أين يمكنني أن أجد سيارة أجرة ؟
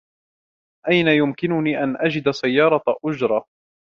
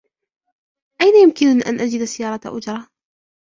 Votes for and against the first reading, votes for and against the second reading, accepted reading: 3, 0, 0, 2, first